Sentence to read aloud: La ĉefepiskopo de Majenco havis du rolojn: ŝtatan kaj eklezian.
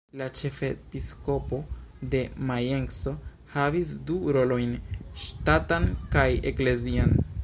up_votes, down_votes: 1, 2